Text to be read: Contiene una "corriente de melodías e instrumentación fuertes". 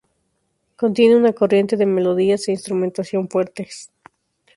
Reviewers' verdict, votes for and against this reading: accepted, 2, 0